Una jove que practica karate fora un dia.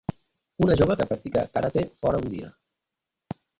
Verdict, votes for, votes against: rejected, 0, 2